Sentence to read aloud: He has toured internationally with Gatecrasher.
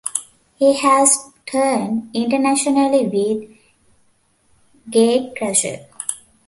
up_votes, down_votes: 0, 2